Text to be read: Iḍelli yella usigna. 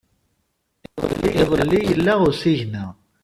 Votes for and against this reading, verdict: 0, 2, rejected